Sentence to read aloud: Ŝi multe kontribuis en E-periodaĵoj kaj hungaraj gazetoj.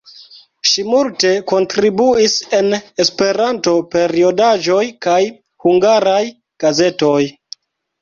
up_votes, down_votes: 0, 2